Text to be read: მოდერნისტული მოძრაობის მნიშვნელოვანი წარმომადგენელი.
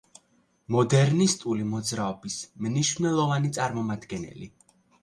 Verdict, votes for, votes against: accepted, 2, 0